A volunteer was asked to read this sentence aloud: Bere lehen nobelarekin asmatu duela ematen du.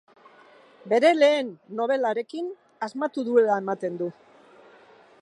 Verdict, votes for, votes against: accepted, 4, 0